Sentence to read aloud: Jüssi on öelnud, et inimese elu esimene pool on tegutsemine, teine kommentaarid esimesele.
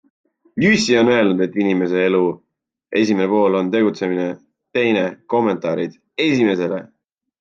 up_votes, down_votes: 2, 0